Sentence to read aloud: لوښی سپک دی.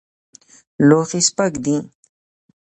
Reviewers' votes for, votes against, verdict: 2, 0, accepted